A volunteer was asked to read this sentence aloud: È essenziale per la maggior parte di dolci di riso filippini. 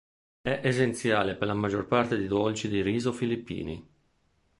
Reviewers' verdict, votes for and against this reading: accepted, 2, 0